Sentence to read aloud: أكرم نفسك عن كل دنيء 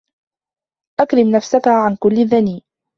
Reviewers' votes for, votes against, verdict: 2, 0, accepted